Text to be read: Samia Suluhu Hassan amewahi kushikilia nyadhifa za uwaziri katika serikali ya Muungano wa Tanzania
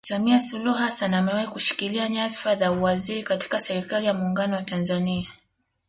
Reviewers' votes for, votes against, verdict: 2, 0, accepted